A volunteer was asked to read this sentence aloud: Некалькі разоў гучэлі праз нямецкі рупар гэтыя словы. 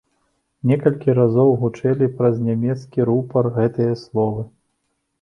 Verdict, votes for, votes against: accepted, 2, 0